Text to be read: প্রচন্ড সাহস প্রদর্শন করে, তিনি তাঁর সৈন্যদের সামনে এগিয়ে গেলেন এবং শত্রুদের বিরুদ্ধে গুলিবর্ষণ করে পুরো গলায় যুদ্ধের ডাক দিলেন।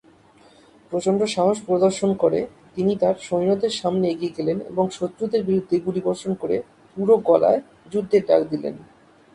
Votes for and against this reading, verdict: 2, 0, accepted